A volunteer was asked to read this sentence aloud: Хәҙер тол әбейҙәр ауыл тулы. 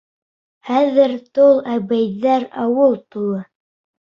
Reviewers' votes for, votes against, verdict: 2, 0, accepted